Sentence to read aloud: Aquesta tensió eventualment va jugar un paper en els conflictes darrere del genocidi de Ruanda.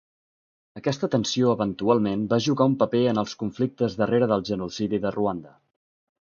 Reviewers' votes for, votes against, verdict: 2, 0, accepted